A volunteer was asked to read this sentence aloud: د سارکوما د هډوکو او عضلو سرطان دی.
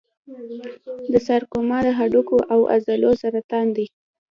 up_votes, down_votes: 1, 2